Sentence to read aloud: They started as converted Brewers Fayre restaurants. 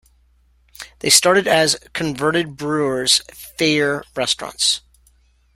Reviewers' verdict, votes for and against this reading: accepted, 2, 1